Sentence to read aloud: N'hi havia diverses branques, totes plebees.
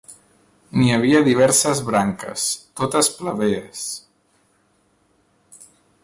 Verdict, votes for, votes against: accepted, 2, 0